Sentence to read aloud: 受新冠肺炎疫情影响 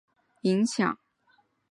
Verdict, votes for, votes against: rejected, 0, 2